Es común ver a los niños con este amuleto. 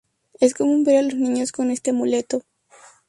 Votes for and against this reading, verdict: 0, 2, rejected